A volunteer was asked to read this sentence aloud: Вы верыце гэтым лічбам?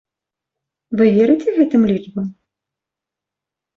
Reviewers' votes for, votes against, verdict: 2, 0, accepted